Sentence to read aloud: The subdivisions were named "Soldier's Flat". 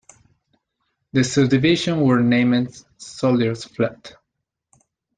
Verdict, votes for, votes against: rejected, 0, 2